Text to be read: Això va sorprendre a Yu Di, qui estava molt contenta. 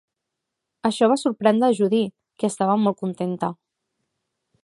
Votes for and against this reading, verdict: 0, 2, rejected